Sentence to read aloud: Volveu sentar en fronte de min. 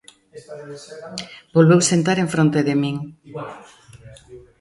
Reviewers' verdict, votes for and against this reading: accepted, 2, 0